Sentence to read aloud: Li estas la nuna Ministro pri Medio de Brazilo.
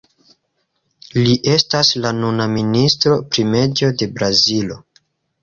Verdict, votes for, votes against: rejected, 1, 2